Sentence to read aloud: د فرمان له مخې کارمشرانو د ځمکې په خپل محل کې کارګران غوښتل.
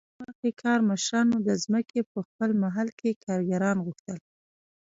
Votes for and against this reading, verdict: 2, 0, accepted